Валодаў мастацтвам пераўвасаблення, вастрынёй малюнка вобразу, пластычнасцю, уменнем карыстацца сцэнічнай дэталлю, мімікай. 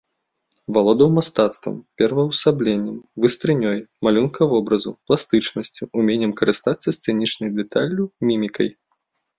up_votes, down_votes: 1, 2